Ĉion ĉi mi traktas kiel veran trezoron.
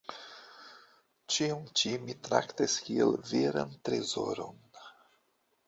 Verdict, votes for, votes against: rejected, 1, 2